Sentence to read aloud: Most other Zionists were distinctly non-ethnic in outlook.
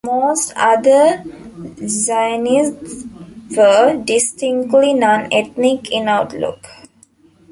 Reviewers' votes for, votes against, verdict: 3, 2, accepted